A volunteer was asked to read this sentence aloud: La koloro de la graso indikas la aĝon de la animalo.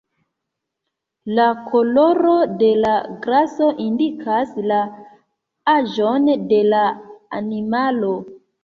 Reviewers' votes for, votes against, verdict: 3, 0, accepted